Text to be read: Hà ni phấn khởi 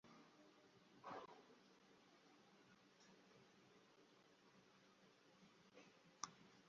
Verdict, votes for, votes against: rejected, 0, 2